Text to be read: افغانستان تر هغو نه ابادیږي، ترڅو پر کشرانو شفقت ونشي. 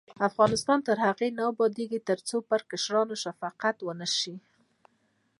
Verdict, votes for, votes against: rejected, 1, 2